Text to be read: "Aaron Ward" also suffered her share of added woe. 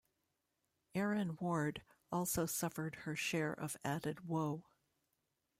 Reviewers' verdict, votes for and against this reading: accepted, 2, 1